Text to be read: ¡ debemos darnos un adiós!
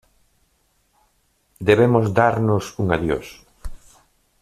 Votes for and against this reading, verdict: 2, 0, accepted